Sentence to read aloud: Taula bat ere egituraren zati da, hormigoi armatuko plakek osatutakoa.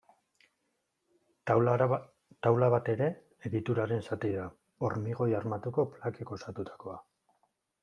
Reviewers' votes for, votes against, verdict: 1, 2, rejected